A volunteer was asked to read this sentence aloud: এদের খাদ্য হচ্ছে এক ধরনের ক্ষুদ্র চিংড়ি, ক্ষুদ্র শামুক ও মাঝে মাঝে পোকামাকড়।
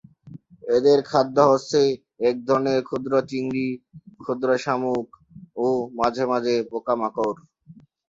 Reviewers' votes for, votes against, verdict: 2, 0, accepted